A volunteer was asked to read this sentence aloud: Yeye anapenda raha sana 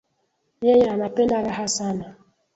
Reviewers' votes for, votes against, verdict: 2, 0, accepted